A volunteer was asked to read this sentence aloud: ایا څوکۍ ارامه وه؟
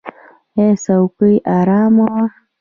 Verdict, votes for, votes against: rejected, 1, 2